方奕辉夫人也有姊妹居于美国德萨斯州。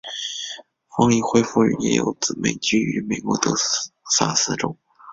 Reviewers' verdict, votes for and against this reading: rejected, 0, 2